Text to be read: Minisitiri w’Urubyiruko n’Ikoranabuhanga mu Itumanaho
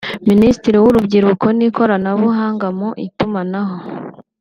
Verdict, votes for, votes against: accepted, 2, 0